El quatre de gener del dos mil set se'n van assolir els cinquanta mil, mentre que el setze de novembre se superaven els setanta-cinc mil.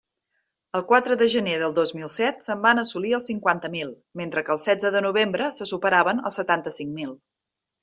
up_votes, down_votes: 3, 0